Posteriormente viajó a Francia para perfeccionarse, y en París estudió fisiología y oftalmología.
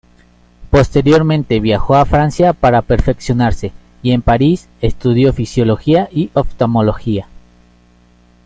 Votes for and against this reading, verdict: 2, 1, accepted